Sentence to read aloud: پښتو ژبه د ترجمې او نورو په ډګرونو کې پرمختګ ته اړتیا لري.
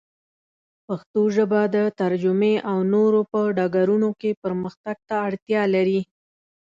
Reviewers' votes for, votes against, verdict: 2, 0, accepted